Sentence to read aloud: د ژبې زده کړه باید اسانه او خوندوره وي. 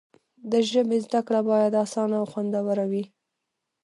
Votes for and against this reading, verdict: 0, 2, rejected